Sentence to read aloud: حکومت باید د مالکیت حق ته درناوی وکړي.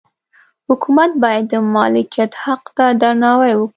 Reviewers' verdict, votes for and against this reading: accepted, 2, 0